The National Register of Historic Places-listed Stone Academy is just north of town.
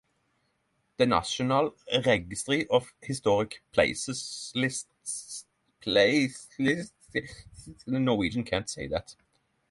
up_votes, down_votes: 0, 3